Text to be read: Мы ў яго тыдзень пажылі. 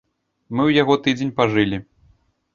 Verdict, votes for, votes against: rejected, 1, 2